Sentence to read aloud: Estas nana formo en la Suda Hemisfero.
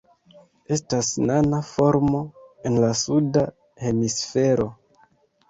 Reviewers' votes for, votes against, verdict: 2, 0, accepted